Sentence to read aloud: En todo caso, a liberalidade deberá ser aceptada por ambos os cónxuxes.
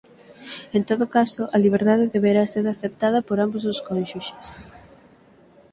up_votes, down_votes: 0, 6